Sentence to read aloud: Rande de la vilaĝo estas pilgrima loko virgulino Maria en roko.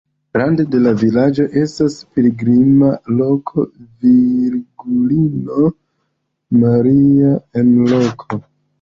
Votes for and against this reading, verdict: 2, 0, accepted